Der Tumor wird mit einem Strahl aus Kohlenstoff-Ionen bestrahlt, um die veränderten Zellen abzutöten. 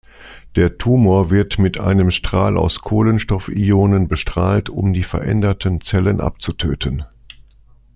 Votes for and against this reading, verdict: 2, 0, accepted